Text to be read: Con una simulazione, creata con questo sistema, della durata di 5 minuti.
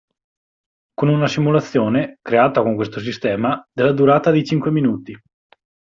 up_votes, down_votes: 0, 2